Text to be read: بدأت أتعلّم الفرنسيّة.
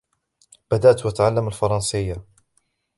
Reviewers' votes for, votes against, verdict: 2, 0, accepted